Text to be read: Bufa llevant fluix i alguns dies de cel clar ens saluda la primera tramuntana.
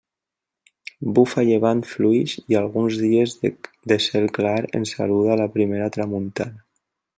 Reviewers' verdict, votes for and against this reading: rejected, 0, 2